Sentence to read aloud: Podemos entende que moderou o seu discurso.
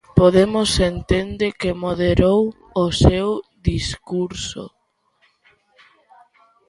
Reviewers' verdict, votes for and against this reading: accepted, 2, 0